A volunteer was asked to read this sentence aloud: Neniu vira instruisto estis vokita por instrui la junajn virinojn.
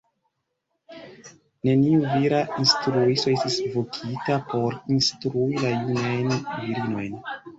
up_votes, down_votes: 0, 2